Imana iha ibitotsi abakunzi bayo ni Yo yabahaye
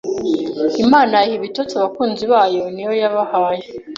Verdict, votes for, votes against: accepted, 2, 0